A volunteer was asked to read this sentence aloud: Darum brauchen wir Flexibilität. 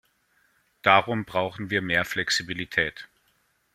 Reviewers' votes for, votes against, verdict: 1, 2, rejected